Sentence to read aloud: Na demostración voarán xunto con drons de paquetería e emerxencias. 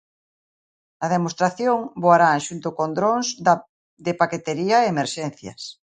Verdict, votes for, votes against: rejected, 0, 2